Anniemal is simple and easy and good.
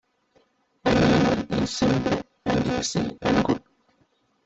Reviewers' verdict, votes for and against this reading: rejected, 0, 2